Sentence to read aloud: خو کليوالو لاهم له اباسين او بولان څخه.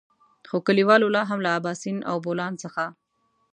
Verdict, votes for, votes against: rejected, 1, 2